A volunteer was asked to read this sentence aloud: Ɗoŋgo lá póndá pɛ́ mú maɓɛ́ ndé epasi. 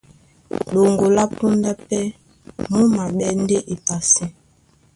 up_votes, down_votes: 1, 2